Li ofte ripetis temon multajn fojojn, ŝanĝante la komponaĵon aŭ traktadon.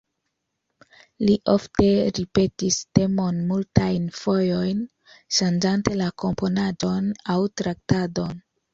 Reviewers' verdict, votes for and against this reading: accepted, 2, 0